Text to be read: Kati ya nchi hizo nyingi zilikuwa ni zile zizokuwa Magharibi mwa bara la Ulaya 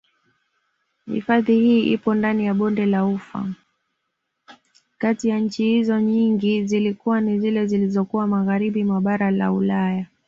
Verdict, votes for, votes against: rejected, 1, 2